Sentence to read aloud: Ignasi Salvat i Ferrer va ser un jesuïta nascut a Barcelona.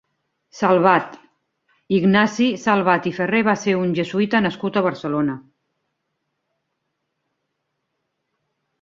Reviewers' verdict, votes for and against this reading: rejected, 1, 3